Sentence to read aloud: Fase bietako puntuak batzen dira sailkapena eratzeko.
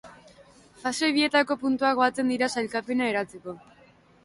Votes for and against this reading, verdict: 2, 0, accepted